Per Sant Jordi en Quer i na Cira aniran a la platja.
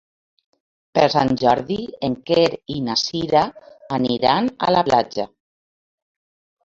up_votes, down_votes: 2, 1